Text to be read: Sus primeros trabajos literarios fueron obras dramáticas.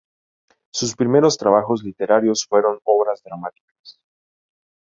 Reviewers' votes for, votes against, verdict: 2, 0, accepted